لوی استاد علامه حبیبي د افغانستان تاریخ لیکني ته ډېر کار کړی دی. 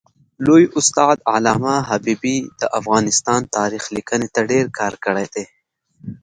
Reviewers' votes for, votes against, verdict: 2, 0, accepted